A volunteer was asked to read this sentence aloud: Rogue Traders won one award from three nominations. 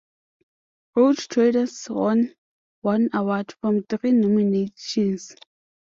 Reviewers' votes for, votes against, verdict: 0, 2, rejected